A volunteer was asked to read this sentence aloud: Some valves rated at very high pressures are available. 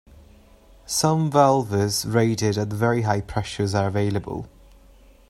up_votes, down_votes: 2, 1